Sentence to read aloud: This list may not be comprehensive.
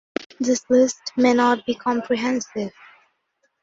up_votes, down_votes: 2, 0